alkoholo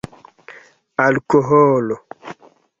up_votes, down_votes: 0, 2